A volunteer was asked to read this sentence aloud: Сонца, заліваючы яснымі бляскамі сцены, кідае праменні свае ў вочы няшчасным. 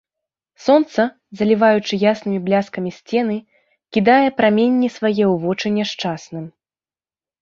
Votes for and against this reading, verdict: 3, 0, accepted